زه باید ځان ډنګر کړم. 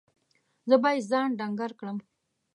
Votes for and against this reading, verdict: 2, 0, accepted